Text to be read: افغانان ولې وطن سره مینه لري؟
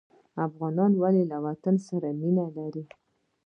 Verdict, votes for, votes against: rejected, 1, 2